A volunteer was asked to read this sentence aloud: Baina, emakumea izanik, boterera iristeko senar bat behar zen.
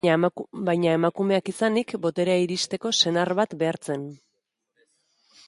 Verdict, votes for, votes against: rejected, 1, 2